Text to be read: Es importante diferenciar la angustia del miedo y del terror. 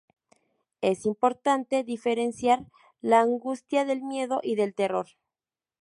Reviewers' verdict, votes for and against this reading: accepted, 2, 0